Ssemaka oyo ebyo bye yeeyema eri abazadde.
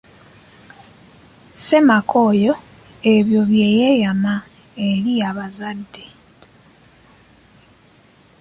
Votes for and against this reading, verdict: 2, 0, accepted